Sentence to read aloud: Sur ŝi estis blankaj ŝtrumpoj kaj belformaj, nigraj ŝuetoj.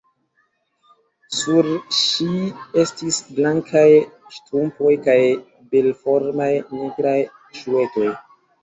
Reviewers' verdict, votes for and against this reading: accepted, 2, 0